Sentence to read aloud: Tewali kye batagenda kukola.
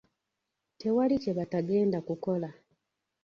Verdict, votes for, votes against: rejected, 1, 2